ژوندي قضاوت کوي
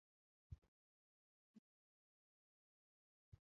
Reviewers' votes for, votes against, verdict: 0, 6, rejected